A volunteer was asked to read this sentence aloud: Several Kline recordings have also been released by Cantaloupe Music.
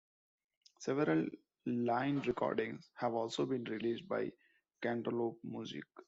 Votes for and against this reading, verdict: 1, 2, rejected